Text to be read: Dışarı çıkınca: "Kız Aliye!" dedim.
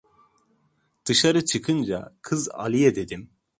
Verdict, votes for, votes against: accepted, 2, 0